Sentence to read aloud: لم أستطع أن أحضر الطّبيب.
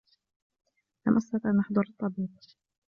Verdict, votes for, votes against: accepted, 2, 1